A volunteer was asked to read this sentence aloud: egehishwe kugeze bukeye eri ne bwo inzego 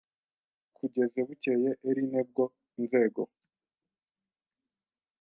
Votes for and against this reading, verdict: 1, 2, rejected